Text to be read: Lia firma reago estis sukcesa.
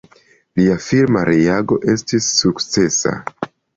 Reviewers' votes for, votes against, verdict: 2, 0, accepted